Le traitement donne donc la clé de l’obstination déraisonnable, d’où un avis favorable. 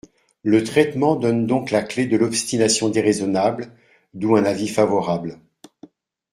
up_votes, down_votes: 2, 0